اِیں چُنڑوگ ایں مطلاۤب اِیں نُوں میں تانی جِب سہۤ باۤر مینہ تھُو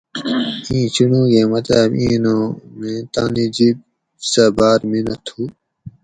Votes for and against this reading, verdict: 0, 4, rejected